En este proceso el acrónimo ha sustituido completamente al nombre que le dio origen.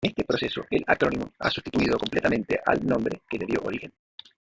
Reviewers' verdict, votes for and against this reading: rejected, 0, 2